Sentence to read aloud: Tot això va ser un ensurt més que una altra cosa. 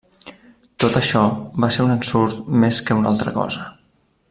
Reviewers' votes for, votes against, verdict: 3, 0, accepted